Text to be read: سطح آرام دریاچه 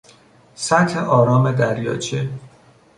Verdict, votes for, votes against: accepted, 2, 0